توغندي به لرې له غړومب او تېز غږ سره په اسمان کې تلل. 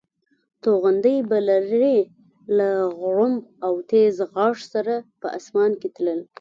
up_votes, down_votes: 2, 0